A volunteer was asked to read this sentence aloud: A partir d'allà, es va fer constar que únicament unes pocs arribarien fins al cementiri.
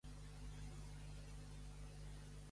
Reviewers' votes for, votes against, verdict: 1, 2, rejected